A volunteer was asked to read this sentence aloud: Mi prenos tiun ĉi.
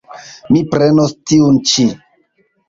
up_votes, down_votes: 2, 0